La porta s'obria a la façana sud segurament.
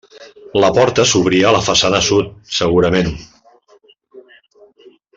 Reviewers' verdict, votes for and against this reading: accepted, 3, 0